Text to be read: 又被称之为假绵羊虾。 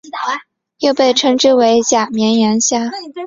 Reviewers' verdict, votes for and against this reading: accepted, 2, 0